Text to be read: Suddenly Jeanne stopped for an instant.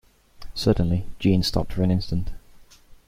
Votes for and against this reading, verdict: 2, 0, accepted